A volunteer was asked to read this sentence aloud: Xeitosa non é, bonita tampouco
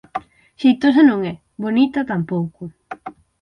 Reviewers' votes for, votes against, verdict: 12, 0, accepted